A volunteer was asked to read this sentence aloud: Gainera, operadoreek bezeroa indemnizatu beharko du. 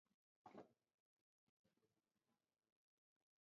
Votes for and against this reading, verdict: 0, 4, rejected